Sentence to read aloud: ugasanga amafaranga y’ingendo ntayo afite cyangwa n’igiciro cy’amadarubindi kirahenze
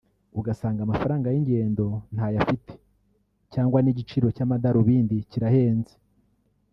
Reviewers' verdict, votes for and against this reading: rejected, 1, 2